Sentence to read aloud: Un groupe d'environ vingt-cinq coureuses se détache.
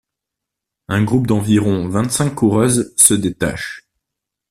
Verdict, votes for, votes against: accepted, 2, 0